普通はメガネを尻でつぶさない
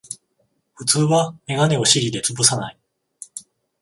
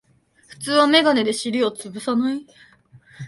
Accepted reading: first